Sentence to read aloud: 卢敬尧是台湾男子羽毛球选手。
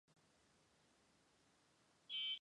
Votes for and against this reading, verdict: 0, 2, rejected